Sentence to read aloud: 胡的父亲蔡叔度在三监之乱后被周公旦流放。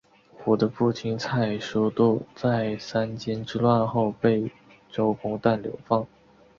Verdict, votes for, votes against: accepted, 3, 0